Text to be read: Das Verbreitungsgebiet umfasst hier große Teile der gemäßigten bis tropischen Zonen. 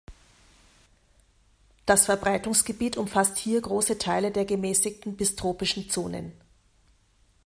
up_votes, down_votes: 2, 0